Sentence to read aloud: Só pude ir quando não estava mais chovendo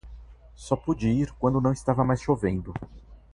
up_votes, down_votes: 2, 0